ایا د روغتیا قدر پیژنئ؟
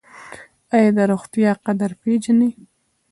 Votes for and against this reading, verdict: 2, 1, accepted